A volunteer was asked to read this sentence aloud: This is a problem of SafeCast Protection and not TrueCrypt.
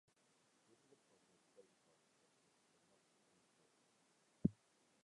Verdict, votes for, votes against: rejected, 0, 2